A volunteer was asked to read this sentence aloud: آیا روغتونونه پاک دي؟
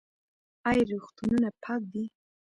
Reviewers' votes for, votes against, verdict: 0, 2, rejected